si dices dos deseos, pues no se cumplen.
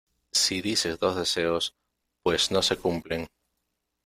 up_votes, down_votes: 2, 0